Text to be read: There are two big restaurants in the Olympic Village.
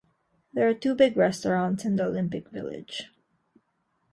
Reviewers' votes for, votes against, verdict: 1, 2, rejected